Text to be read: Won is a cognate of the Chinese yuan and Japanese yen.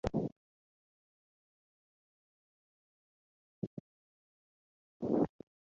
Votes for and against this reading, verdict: 0, 3, rejected